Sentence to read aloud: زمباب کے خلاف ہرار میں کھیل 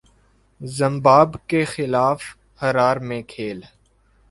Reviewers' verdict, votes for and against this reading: accepted, 2, 0